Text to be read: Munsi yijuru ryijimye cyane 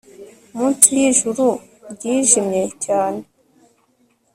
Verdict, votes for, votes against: accepted, 2, 0